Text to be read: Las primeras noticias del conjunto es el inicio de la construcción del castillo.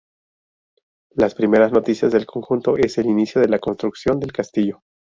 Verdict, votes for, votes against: accepted, 2, 0